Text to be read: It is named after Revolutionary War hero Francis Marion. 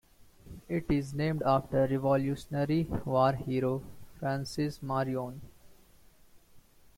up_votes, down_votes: 2, 0